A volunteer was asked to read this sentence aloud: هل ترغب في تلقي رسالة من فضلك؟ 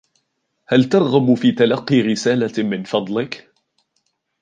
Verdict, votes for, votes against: accepted, 2, 0